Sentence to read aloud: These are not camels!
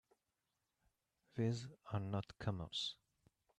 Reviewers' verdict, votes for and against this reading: accepted, 2, 0